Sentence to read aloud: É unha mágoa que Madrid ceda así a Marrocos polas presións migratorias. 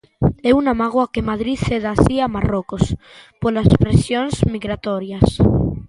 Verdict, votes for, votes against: rejected, 0, 2